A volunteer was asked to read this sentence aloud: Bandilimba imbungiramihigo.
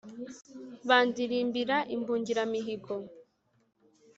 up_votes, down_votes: 0, 2